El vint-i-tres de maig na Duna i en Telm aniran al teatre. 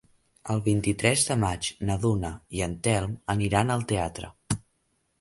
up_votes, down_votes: 3, 0